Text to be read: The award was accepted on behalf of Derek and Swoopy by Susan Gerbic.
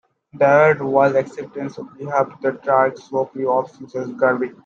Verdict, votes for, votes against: rejected, 0, 2